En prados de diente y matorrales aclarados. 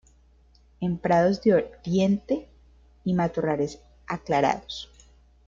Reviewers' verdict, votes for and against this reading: rejected, 1, 2